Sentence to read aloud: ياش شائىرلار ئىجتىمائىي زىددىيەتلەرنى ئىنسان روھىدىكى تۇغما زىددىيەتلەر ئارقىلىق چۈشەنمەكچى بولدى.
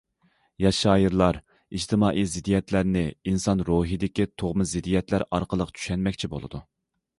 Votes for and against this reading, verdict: 0, 2, rejected